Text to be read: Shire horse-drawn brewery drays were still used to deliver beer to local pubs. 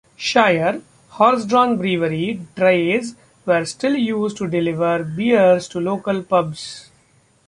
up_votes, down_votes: 1, 2